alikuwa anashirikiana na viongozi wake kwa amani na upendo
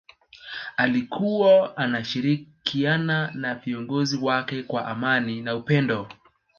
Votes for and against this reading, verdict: 2, 0, accepted